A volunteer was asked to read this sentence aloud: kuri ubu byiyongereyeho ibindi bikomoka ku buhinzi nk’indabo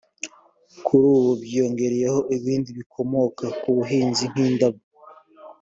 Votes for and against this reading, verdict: 3, 0, accepted